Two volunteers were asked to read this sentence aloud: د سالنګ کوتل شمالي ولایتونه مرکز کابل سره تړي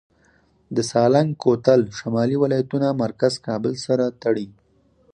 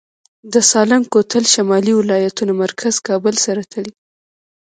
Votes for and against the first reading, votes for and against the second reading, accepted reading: 4, 0, 1, 2, first